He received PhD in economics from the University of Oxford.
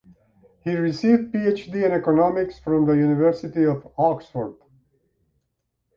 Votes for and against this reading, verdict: 1, 2, rejected